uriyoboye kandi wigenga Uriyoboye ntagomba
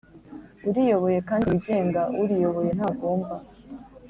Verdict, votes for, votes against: accepted, 2, 0